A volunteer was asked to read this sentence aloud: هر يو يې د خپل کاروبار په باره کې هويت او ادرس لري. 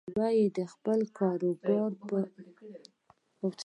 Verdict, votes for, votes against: accepted, 2, 0